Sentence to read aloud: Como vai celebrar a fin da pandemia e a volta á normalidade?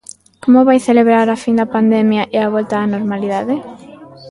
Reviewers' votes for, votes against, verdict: 1, 2, rejected